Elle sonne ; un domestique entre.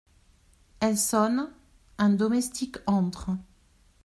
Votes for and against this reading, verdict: 2, 0, accepted